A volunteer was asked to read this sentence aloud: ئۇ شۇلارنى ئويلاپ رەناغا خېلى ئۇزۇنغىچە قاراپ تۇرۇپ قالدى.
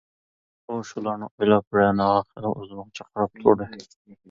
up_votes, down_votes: 1, 2